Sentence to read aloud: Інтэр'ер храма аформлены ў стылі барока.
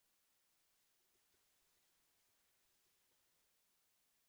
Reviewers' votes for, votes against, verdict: 0, 3, rejected